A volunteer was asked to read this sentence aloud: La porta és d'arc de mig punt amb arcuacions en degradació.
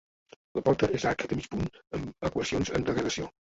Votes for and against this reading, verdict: 1, 2, rejected